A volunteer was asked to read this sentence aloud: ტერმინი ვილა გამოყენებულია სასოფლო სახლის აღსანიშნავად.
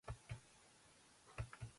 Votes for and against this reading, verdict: 0, 3, rejected